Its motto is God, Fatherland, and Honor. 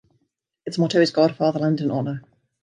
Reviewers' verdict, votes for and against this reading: accepted, 2, 0